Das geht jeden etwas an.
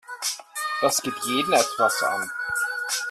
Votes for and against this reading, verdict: 1, 2, rejected